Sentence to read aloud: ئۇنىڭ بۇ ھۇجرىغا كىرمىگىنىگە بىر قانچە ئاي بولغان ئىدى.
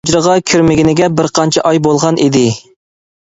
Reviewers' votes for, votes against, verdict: 0, 2, rejected